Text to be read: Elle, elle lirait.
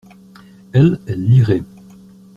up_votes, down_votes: 2, 0